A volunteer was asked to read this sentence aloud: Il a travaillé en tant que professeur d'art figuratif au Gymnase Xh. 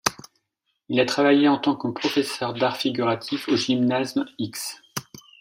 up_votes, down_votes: 1, 2